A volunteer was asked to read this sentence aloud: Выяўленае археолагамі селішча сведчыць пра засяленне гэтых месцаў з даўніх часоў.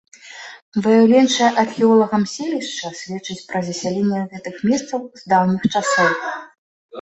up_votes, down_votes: 1, 2